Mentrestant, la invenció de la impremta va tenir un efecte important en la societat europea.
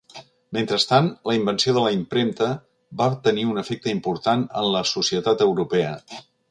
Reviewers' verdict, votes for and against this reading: accepted, 2, 0